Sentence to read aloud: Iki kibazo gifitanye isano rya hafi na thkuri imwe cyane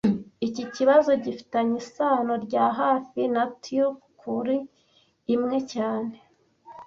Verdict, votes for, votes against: rejected, 1, 2